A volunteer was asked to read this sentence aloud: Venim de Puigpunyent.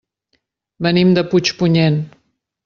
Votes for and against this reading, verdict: 3, 0, accepted